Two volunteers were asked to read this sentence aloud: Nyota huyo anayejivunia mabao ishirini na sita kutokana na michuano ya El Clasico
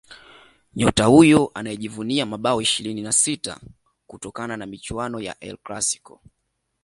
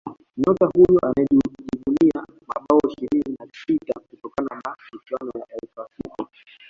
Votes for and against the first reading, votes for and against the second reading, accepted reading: 2, 0, 0, 2, first